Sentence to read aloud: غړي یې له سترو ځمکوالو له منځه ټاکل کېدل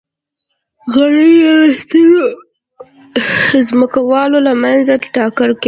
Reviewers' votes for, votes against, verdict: 0, 2, rejected